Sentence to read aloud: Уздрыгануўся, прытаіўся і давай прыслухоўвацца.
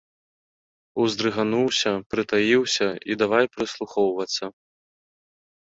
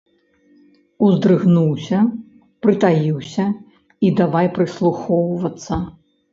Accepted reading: first